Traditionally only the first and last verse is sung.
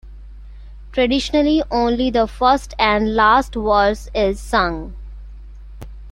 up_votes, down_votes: 2, 0